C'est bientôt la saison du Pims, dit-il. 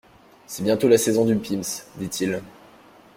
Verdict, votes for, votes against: accepted, 2, 0